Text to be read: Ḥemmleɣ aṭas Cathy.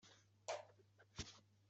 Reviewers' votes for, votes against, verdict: 1, 2, rejected